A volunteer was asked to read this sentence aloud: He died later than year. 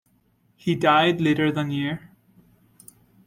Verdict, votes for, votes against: rejected, 1, 2